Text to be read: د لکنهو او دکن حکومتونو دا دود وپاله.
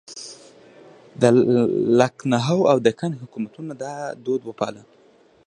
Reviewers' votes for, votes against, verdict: 0, 2, rejected